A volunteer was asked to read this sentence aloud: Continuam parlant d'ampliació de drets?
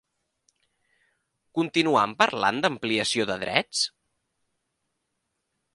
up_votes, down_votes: 2, 0